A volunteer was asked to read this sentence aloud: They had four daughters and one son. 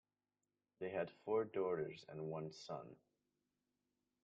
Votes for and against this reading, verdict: 2, 1, accepted